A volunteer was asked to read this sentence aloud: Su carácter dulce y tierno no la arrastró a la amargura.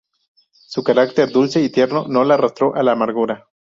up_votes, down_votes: 0, 2